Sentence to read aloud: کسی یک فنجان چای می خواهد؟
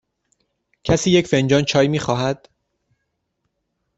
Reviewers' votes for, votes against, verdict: 2, 0, accepted